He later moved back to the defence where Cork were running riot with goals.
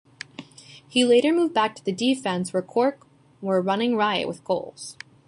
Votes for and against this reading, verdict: 2, 1, accepted